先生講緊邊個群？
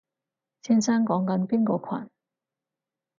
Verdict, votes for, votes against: accepted, 4, 0